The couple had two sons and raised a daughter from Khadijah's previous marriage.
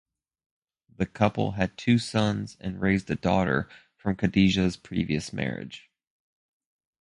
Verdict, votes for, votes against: rejected, 2, 2